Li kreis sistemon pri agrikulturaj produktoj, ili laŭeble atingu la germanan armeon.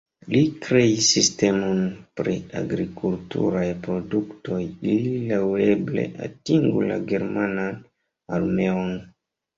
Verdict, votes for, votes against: rejected, 0, 2